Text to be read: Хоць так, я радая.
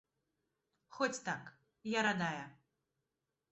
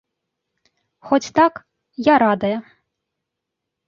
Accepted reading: second